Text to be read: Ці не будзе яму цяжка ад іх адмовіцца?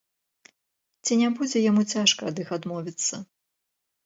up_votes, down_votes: 2, 0